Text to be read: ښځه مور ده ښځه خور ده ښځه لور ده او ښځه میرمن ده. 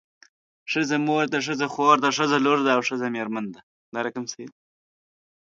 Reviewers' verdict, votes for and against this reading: rejected, 1, 2